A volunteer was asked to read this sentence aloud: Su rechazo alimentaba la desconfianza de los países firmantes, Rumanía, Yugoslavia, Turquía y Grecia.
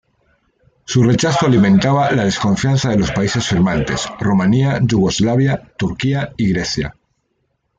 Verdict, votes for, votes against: rejected, 0, 2